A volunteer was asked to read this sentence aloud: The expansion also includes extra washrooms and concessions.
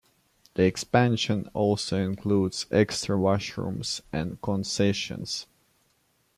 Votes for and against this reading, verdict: 2, 0, accepted